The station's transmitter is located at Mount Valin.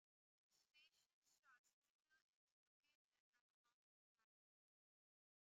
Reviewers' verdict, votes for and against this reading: rejected, 0, 2